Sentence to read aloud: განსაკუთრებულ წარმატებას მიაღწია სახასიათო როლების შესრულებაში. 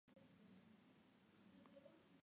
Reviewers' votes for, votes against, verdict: 0, 2, rejected